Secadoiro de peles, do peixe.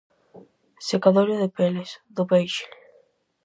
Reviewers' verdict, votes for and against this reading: accepted, 4, 0